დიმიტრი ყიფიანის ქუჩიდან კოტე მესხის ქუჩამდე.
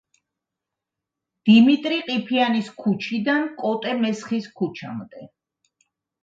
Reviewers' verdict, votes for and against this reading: accepted, 2, 0